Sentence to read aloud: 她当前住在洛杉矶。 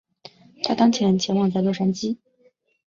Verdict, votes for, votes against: rejected, 1, 2